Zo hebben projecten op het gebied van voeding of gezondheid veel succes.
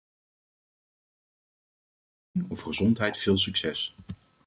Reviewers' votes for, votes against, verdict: 0, 2, rejected